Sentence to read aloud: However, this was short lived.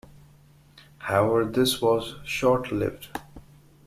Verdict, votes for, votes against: accepted, 2, 0